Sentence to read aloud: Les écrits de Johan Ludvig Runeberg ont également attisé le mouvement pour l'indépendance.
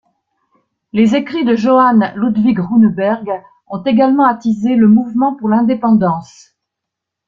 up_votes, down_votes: 2, 0